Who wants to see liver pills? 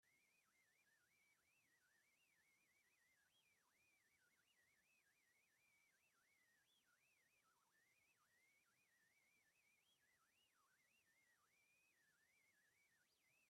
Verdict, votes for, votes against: rejected, 0, 2